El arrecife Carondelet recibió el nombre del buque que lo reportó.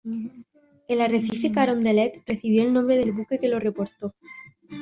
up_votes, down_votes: 2, 0